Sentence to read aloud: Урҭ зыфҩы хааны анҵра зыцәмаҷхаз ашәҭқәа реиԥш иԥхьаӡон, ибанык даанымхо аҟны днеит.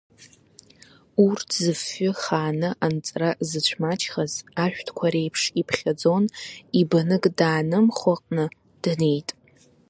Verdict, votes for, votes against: rejected, 0, 2